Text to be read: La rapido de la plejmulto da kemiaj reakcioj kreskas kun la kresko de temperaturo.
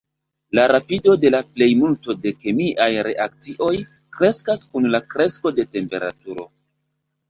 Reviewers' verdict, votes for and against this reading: rejected, 1, 2